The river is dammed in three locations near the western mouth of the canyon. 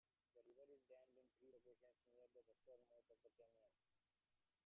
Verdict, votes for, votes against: rejected, 0, 2